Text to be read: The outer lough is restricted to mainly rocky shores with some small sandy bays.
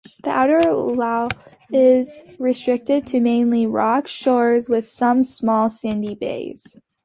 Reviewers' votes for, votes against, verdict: 1, 2, rejected